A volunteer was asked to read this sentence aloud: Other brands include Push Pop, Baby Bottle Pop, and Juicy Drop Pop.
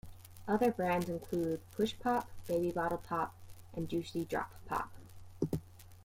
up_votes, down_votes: 0, 2